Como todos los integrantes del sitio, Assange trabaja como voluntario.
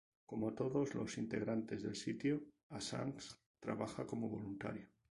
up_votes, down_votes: 2, 2